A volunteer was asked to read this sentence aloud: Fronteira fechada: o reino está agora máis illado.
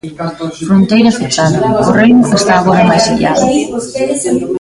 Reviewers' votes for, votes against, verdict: 0, 2, rejected